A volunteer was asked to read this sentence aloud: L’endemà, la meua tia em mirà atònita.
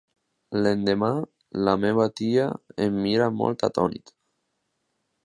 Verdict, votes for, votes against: rejected, 0, 2